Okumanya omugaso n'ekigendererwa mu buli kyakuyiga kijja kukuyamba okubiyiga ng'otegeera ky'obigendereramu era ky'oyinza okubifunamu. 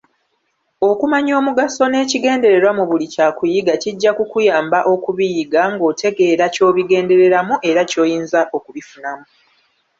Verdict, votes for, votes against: accepted, 2, 1